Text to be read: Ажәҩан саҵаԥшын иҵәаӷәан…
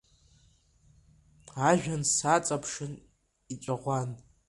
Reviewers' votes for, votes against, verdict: 2, 1, accepted